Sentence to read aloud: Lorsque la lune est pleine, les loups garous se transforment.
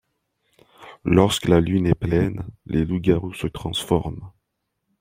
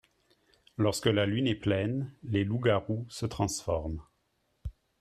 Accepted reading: second